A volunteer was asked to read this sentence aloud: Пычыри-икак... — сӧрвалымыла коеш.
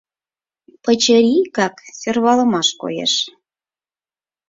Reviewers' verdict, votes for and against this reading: rejected, 0, 4